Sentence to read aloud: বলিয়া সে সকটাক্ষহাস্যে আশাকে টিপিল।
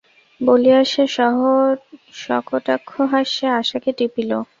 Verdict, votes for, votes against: rejected, 0, 2